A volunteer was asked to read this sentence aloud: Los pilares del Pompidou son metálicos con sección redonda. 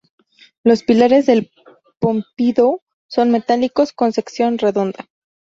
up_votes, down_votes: 2, 0